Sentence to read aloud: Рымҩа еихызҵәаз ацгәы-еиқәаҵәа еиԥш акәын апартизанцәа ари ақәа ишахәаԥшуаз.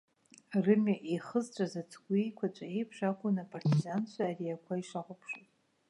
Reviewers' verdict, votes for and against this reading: accepted, 2, 0